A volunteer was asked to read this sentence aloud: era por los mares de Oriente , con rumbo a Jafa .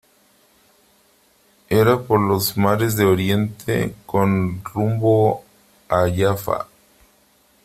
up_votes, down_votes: 3, 0